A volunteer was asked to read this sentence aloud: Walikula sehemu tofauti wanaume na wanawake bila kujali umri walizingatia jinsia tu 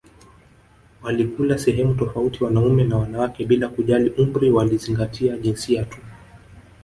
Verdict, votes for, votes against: rejected, 0, 2